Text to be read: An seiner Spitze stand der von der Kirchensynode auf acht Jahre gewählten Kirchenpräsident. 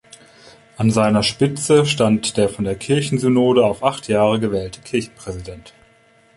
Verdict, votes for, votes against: rejected, 1, 2